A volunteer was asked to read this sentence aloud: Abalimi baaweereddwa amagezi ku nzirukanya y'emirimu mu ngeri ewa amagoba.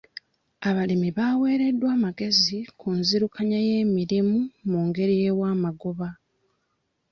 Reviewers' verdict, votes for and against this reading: rejected, 1, 2